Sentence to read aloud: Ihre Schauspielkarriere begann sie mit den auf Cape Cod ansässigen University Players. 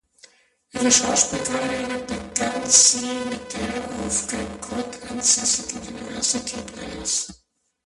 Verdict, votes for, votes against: rejected, 0, 2